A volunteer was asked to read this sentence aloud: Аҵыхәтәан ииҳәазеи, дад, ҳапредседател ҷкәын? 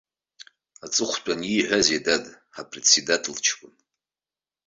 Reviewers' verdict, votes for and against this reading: accepted, 2, 0